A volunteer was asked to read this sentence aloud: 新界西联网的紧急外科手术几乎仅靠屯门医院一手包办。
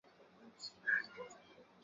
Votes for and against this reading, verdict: 0, 5, rejected